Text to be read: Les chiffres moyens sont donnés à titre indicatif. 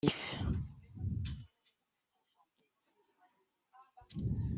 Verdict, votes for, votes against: rejected, 0, 2